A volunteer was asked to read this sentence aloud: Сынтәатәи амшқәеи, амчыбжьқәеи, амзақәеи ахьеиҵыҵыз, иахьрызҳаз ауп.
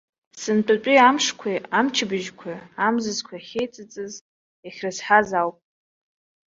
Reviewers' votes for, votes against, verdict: 0, 2, rejected